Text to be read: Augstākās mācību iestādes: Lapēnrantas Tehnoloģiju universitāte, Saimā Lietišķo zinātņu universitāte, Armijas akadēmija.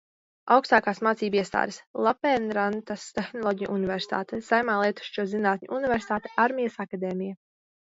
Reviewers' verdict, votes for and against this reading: accepted, 2, 1